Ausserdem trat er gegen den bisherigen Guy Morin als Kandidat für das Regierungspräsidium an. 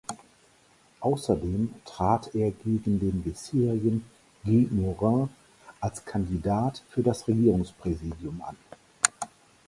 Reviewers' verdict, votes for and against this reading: rejected, 0, 4